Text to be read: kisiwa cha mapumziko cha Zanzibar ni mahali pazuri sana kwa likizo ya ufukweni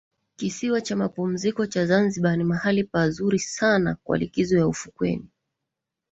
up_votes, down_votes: 1, 2